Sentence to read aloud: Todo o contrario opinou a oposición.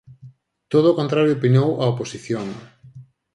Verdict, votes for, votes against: accepted, 4, 0